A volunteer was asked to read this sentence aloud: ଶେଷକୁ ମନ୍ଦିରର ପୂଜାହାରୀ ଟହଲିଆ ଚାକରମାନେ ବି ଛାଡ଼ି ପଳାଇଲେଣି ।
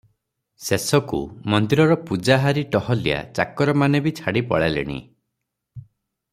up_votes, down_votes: 3, 0